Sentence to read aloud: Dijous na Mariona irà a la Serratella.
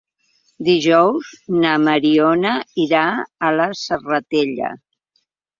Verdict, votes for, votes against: accepted, 3, 0